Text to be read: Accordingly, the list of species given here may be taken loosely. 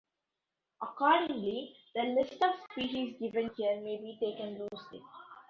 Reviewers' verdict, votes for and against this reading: rejected, 1, 2